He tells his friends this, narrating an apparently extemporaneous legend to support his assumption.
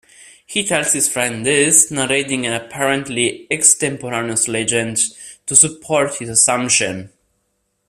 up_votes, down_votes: 0, 2